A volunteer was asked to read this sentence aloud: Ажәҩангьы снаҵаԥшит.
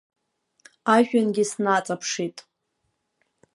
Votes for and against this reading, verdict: 2, 0, accepted